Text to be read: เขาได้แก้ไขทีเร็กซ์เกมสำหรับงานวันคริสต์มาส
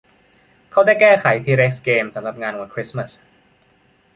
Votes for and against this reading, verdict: 1, 2, rejected